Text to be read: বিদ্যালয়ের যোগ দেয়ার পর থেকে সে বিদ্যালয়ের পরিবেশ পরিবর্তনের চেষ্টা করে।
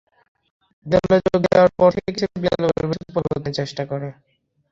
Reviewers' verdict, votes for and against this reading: rejected, 0, 2